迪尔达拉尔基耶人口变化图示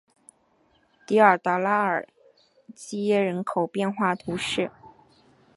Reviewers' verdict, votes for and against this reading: accepted, 3, 1